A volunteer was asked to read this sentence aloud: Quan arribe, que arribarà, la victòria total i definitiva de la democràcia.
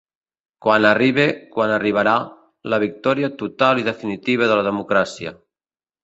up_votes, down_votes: 0, 2